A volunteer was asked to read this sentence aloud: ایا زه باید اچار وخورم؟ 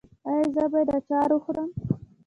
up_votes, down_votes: 1, 2